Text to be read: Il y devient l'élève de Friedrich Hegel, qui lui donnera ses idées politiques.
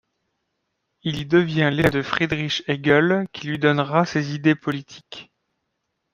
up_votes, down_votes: 0, 2